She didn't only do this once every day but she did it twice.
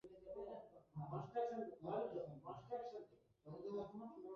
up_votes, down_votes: 1, 2